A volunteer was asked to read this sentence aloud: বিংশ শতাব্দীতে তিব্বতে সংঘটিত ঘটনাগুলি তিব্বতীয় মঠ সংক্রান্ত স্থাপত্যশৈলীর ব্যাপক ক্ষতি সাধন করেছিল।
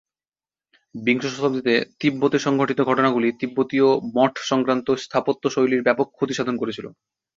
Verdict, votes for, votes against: accepted, 2, 0